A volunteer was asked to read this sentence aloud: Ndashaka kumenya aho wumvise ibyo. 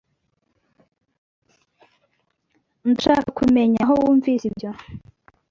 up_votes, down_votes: 1, 2